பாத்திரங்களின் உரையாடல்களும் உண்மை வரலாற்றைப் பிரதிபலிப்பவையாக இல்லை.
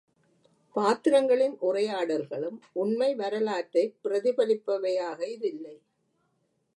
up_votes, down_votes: 1, 2